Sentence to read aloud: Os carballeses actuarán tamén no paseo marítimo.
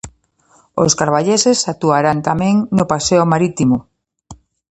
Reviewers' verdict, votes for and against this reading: accepted, 2, 0